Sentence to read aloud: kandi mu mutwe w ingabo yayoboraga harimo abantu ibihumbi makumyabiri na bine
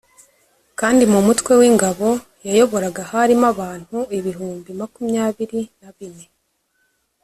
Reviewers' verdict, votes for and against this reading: accepted, 2, 0